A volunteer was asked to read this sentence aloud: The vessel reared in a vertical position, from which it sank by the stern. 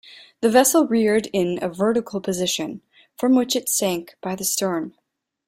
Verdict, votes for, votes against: accepted, 2, 1